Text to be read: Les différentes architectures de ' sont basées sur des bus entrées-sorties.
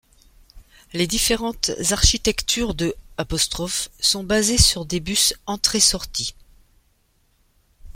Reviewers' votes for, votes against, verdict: 1, 2, rejected